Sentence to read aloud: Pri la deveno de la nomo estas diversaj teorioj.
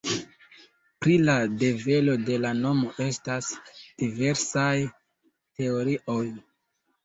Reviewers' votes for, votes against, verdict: 0, 2, rejected